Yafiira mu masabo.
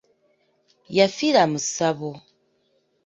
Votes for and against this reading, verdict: 0, 2, rejected